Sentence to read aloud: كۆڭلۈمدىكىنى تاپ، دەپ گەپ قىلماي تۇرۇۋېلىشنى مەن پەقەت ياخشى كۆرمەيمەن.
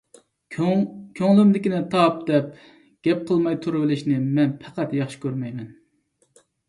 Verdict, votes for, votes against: rejected, 0, 2